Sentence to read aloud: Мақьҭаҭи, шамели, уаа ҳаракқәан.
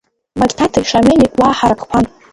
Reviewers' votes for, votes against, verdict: 0, 2, rejected